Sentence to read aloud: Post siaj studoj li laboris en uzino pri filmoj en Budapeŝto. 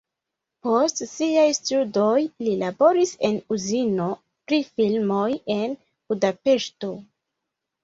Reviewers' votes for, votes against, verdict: 0, 2, rejected